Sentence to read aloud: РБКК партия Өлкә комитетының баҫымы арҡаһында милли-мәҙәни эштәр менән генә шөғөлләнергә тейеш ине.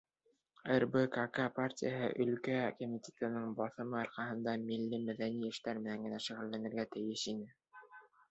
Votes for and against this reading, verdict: 2, 0, accepted